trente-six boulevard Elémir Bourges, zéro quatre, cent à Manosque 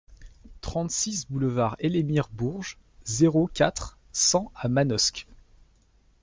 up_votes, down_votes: 2, 0